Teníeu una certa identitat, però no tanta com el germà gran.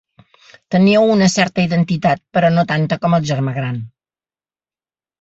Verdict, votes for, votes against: accepted, 3, 0